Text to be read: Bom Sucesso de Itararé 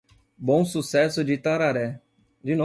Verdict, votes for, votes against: rejected, 0, 2